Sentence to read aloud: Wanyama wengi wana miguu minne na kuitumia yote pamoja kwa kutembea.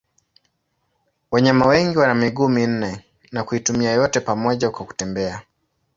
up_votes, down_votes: 2, 0